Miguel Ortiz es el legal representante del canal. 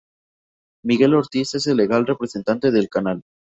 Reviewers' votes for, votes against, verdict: 2, 0, accepted